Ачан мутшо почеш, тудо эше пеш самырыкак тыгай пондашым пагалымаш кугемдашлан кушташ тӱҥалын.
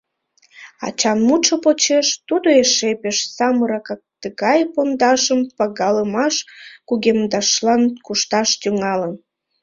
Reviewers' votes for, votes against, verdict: 0, 2, rejected